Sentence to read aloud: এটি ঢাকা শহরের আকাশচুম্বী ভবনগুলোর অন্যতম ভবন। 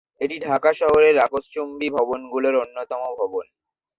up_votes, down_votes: 0, 2